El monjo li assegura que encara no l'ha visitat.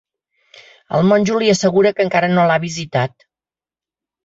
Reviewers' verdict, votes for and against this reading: accepted, 4, 0